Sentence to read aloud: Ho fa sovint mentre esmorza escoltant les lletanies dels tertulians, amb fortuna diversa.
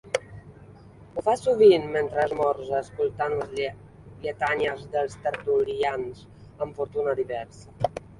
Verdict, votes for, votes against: rejected, 0, 2